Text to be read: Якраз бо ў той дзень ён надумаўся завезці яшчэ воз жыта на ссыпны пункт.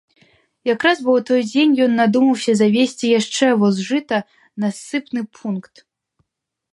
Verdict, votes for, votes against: accepted, 2, 0